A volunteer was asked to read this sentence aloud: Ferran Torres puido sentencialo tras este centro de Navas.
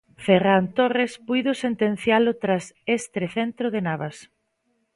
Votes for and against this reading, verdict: 2, 0, accepted